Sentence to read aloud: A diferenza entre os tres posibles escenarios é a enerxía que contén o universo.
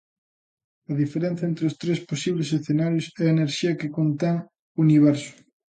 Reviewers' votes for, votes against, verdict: 2, 1, accepted